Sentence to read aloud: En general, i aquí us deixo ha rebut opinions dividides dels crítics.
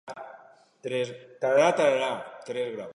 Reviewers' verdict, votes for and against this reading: rejected, 1, 2